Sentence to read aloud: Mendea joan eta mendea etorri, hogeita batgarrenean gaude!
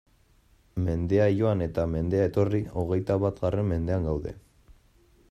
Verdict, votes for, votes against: rejected, 1, 2